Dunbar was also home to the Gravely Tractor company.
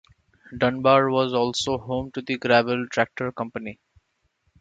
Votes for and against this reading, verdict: 1, 2, rejected